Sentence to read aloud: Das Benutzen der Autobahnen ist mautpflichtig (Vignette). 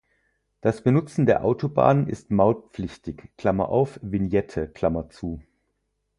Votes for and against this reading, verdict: 0, 4, rejected